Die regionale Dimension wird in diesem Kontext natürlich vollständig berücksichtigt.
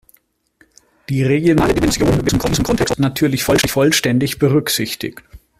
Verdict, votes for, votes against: rejected, 0, 2